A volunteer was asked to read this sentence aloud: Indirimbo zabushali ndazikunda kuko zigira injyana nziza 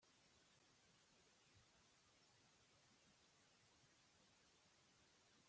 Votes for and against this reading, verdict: 1, 2, rejected